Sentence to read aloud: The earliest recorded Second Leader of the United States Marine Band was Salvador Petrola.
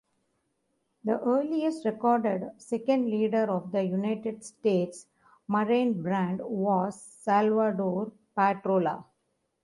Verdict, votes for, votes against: rejected, 1, 2